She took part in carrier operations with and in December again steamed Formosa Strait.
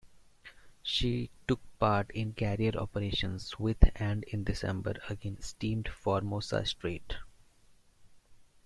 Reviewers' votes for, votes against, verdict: 2, 0, accepted